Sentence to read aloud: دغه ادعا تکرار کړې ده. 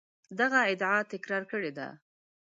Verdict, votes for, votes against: accepted, 2, 1